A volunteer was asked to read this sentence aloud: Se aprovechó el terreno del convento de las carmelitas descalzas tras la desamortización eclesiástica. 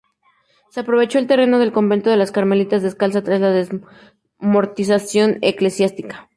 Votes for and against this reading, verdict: 0, 2, rejected